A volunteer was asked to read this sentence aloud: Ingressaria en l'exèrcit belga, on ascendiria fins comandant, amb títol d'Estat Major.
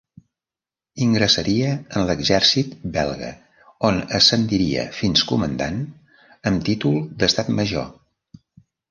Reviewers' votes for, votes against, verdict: 1, 2, rejected